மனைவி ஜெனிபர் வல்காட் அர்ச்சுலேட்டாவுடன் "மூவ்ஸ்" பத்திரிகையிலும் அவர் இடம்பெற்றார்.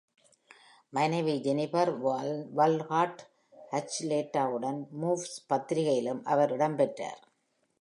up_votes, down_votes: 1, 2